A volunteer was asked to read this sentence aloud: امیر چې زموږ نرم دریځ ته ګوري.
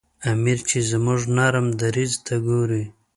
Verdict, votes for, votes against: accepted, 2, 0